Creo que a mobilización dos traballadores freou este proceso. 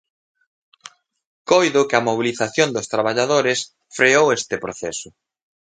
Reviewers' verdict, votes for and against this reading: rejected, 1, 2